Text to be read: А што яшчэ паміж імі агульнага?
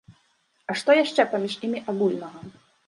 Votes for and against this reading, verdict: 1, 2, rejected